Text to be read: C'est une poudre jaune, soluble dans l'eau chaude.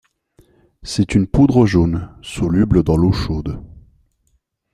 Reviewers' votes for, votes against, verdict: 2, 1, accepted